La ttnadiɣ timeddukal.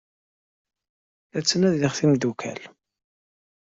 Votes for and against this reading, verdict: 2, 0, accepted